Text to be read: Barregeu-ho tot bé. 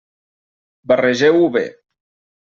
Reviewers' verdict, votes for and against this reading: rejected, 0, 2